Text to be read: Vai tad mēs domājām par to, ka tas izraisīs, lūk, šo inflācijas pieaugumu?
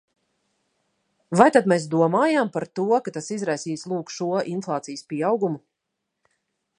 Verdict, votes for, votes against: accepted, 2, 0